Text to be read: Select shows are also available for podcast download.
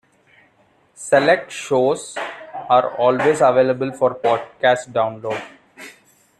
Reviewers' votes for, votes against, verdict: 0, 2, rejected